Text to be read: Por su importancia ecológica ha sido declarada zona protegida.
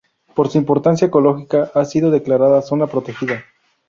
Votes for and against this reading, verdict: 2, 0, accepted